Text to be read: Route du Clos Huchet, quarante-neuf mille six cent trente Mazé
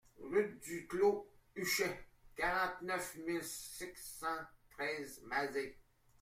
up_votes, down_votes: 0, 2